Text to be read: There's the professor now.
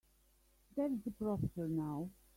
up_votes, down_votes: 3, 0